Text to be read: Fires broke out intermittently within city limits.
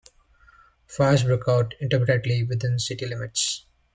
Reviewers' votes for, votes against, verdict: 2, 1, accepted